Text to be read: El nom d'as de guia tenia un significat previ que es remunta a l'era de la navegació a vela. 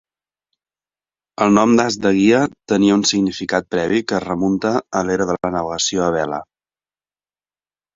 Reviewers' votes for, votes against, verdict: 0, 2, rejected